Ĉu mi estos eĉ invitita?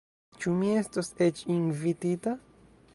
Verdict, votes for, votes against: rejected, 1, 2